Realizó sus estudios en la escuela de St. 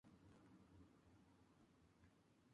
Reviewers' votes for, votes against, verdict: 0, 2, rejected